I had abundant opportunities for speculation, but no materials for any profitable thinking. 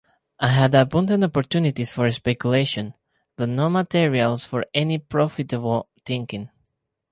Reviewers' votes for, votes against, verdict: 2, 0, accepted